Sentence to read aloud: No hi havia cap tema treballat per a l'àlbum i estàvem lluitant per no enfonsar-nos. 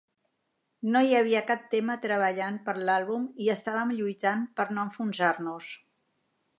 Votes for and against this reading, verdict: 1, 2, rejected